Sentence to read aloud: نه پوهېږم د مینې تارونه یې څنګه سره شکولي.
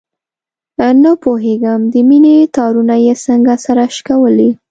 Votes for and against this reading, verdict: 2, 0, accepted